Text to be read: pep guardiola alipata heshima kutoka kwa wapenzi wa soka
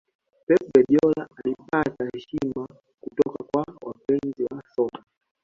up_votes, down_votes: 0, 2